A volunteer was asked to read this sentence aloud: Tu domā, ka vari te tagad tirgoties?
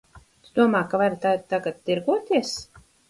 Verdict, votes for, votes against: rejected, 2, 4